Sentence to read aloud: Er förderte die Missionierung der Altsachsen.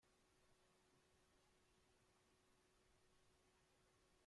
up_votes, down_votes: 0, 2